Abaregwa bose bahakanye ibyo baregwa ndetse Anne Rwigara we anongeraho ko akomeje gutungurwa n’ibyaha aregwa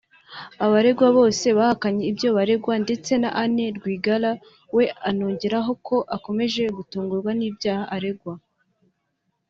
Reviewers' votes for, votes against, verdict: 3, 0, accepted